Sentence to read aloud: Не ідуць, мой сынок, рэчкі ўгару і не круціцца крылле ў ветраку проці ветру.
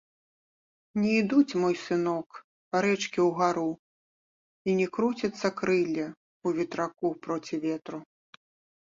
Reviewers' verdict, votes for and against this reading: rejected, 1, 2